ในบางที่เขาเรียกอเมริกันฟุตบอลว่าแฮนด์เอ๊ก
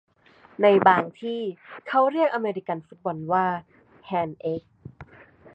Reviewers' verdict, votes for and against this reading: accepted, 2, 0